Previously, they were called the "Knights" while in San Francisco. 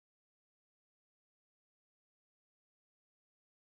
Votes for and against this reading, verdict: 0, 2, rejected